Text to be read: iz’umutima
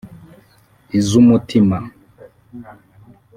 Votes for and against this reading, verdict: 2, 0, accepted